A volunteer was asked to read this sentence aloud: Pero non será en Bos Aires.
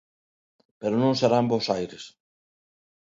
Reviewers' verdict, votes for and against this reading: accepted, 2, 0